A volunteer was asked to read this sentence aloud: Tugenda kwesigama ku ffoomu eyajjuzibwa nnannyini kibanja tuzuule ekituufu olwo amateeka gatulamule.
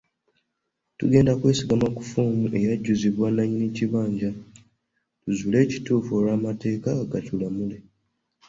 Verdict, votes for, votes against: accepted, 3, 1